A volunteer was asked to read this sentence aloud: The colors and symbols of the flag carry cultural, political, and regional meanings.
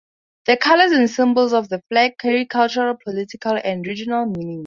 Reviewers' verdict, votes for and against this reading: accepted, 4, 0